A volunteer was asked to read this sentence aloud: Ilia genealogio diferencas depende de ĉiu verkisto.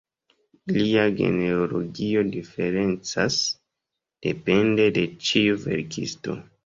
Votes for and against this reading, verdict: 0, 2, rejected